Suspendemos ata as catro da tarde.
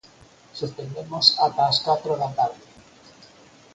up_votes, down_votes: 4, 0